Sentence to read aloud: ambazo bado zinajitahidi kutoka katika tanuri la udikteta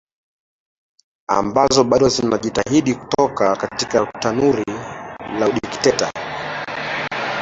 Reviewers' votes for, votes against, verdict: 1, 2, rejected